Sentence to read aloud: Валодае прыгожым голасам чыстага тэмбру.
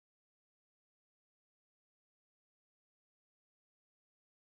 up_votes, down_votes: 0, 2